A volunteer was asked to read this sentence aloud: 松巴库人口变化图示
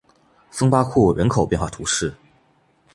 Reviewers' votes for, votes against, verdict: 2, 0, accepted